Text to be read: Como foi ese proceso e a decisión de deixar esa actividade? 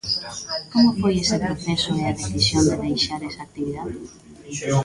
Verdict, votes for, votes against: rejected, 1, 2